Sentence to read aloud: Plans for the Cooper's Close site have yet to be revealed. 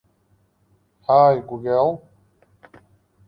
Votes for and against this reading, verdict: 1, 2, rejected